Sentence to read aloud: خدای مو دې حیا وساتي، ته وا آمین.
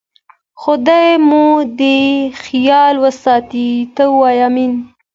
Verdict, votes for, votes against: accepted, 2, 0